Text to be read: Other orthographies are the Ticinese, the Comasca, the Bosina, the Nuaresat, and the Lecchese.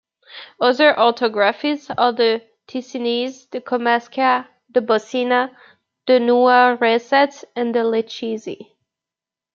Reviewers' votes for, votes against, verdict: 1, 2, rejected